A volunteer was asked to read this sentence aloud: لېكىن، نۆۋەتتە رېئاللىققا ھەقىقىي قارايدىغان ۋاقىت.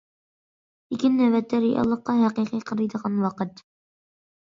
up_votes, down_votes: 2, 0